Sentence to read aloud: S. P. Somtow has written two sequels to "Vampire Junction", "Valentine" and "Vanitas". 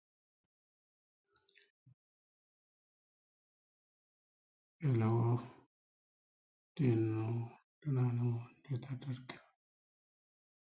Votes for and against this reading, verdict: 0, 2, rejected